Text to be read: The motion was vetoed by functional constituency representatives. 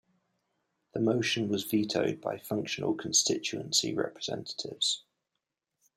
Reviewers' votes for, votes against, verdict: 2, 0, accepted